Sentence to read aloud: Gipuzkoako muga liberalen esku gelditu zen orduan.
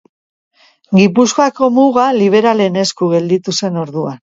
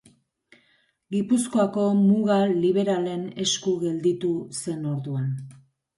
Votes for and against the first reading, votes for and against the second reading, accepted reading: 2, 1, 1, 2, first